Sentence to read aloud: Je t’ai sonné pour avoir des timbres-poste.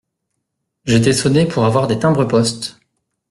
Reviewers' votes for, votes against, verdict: 2, 0, accepted